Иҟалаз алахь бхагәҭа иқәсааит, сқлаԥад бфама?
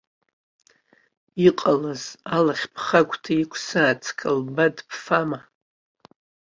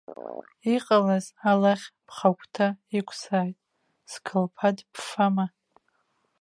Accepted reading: first